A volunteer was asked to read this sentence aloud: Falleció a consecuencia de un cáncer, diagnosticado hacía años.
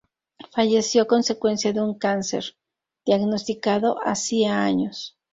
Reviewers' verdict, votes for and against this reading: rejected, 2, 2